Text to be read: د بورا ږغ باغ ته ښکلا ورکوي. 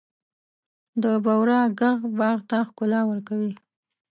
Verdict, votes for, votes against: accepted, 3, 0